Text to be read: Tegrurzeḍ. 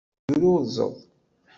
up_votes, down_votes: 0, 2